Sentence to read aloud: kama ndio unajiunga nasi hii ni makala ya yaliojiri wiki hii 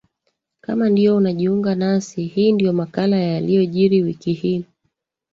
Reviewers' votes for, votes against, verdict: 0, 2, rejected